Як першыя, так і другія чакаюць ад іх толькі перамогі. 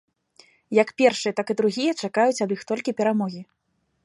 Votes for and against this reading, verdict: 2, 0, accepted